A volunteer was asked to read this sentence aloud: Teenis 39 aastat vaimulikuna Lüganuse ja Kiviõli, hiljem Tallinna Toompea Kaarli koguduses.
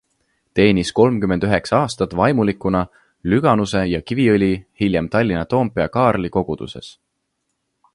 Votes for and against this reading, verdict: 0, 2, rejected